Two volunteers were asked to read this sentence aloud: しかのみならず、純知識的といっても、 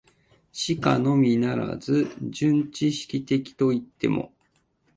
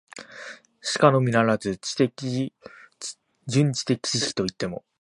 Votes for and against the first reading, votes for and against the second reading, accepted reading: 2, 0, 1, 2, first